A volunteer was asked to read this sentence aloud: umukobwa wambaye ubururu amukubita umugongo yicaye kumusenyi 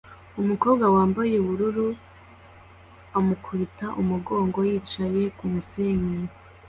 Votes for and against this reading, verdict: 2, 0, accepted